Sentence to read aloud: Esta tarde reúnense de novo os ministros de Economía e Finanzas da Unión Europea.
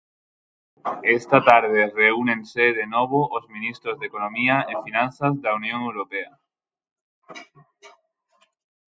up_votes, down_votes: 3, 3